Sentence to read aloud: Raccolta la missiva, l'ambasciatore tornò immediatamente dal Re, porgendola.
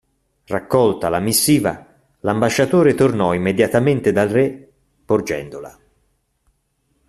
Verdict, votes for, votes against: accepted, 2, 0